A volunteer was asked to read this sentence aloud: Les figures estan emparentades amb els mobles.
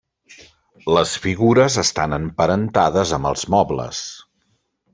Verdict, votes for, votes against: accepted, 3, 0